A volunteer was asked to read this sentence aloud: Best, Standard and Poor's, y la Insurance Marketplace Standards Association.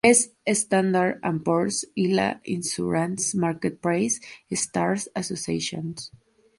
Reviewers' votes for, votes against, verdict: 0, 2, rejected